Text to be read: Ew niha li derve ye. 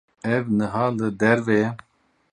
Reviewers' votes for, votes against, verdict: 2, 2, rejected